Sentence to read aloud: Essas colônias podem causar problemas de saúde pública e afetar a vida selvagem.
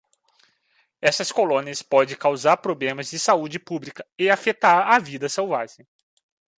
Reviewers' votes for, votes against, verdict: 0, 2, rejected